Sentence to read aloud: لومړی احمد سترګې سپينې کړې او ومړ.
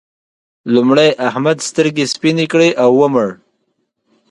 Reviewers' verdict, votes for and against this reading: accepted, 2, 0